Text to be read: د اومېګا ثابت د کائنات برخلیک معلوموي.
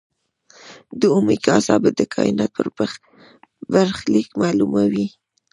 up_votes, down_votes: 1, 2